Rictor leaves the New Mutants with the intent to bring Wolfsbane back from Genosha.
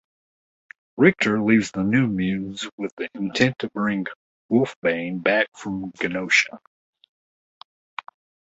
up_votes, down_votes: 2, 1